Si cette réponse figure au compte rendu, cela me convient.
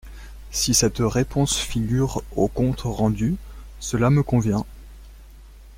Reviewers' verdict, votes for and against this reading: rejected, 1, 2